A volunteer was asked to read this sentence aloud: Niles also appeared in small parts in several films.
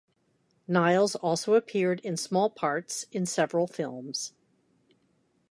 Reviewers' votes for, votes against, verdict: 2, 1, accepted